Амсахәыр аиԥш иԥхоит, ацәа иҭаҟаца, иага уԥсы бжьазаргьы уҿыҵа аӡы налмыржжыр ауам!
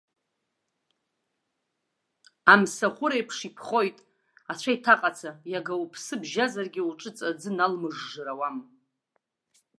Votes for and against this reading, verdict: 2, 0, accepted